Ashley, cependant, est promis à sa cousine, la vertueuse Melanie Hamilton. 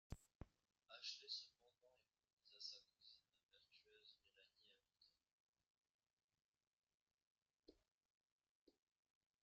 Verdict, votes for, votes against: rejected, 0, 2